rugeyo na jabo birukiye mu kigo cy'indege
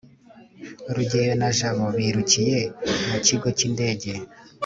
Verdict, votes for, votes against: accepted, 2, 0